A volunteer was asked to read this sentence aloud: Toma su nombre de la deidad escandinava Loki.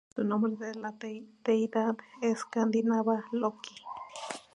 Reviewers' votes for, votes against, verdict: 0, 4, rejected